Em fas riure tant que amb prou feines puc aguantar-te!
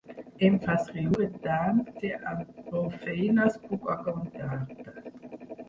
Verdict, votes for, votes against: rejected, 1, 2